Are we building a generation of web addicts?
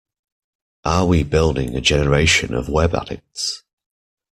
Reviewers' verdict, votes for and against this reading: accepted, 2, 1